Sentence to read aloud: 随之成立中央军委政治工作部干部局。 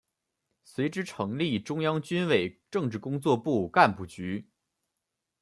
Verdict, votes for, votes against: accepted, 2, 0